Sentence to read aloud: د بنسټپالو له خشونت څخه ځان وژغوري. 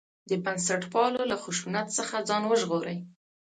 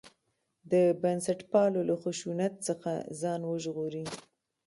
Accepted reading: first